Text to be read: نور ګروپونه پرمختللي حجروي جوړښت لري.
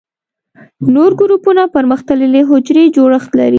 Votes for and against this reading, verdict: 2, 1, accepted